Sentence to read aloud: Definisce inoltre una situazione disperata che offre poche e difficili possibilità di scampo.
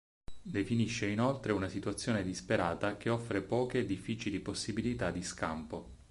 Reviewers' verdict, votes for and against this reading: accepted, 4, 0